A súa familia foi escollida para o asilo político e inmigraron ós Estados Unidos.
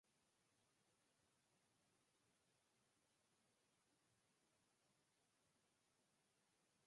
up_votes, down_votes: 0, 4